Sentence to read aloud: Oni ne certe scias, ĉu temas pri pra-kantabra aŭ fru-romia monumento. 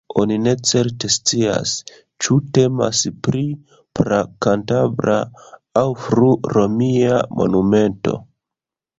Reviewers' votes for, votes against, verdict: 2, 1, accepted